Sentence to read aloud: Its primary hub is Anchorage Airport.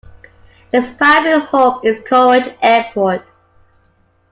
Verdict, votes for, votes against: rejected, 0, 2